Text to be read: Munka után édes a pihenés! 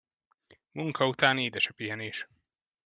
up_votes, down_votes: 2, 0